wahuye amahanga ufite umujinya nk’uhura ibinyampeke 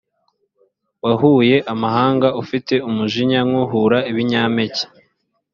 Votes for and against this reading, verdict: 2, 0, accepted